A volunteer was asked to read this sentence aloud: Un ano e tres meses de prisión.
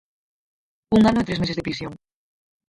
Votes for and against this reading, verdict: 0, 4, rejected